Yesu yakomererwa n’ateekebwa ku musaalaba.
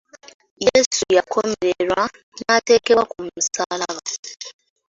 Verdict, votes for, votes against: accepted, 2, 0